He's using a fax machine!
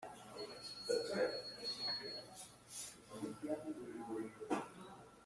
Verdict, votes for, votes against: rejected, 0, 2